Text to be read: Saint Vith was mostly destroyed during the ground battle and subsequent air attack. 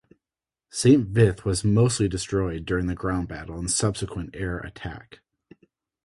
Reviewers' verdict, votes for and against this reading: accepted, 2, 0